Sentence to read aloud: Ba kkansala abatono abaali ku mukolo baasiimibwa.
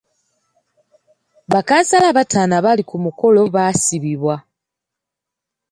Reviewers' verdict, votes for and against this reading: rejected, 1, 2